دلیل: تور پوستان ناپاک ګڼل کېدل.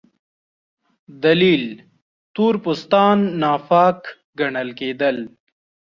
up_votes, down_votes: 2, 0